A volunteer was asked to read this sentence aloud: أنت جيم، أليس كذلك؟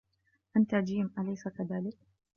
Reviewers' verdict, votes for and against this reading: accepted, 3, 0